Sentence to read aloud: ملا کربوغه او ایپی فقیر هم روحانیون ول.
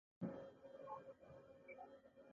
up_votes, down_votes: 0, 2